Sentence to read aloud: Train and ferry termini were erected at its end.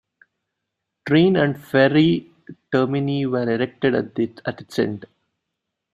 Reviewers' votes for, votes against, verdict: 0, 2, rejected